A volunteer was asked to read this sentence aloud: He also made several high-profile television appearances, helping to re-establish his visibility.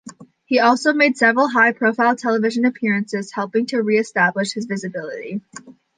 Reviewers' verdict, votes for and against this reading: accepted, 2, 0